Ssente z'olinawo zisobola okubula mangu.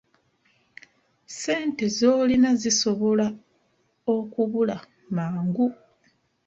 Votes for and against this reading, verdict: 2, 0, accepted